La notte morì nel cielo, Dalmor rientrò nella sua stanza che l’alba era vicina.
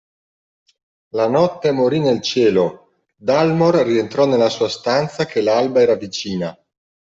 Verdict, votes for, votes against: accepted, 2, 0